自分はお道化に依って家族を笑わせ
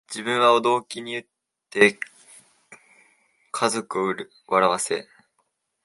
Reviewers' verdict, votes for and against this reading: rejected, 1, 2